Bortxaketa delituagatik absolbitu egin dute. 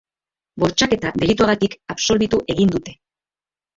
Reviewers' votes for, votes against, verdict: 2, 1, accepted